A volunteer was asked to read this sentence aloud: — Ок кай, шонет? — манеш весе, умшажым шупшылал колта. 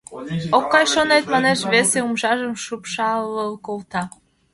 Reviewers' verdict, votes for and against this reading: rejected, 1, 2